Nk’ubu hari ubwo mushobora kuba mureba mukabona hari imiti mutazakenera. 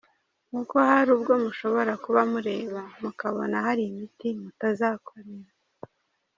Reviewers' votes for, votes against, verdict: 1, 3, rejected